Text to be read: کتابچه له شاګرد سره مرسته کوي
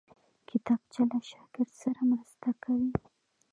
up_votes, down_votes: 0, 2